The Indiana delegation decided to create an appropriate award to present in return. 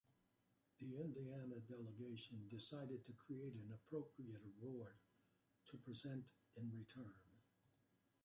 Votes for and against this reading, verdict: 1, 2, rejected